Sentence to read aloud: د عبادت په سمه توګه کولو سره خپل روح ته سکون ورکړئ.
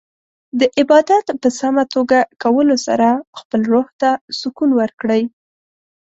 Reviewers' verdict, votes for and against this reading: accepted, 2, 0